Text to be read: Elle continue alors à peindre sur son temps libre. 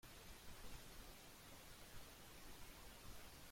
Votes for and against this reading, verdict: 0, 2, rejected